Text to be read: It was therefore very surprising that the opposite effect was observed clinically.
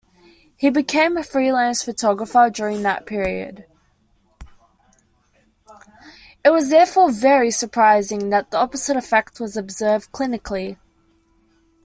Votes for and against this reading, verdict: 0, 2, rejected